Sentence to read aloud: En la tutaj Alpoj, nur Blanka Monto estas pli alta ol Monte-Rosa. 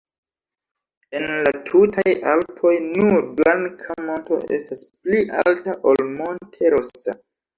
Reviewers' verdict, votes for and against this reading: rejected, 0, 2